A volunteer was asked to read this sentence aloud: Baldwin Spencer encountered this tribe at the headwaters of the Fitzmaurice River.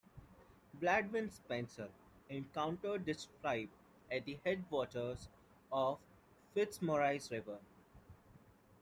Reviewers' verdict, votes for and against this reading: rejected, 1, 2